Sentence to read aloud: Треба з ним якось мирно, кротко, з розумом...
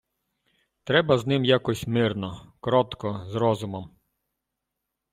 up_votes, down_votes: 2, 0